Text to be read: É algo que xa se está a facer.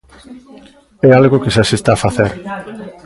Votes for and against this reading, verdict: 1, 2, rejected